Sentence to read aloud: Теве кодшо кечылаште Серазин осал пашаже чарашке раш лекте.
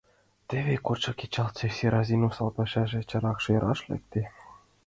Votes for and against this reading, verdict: 0, 2, rejected